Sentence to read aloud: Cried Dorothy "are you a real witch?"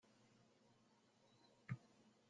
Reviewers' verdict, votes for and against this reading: rejected, 0, 2